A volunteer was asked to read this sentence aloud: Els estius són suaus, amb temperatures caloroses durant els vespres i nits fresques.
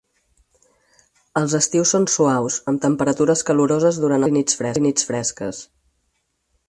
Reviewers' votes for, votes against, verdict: 0, 4, rejected